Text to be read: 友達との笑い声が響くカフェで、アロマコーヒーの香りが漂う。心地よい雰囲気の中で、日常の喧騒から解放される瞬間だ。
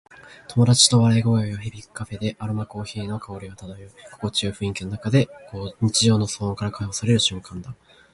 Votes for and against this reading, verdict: 10, 5, accepted